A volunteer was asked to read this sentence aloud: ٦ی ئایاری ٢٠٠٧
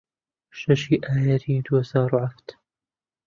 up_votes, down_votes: 0, 2